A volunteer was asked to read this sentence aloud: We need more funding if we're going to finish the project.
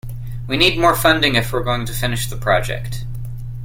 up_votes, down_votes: 2, 0